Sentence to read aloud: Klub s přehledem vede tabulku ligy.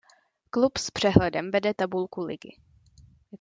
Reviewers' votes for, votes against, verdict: 2, 0, accepted